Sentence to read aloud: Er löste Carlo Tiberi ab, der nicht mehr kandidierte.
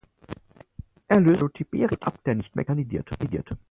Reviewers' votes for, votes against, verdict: 0, 4, rejected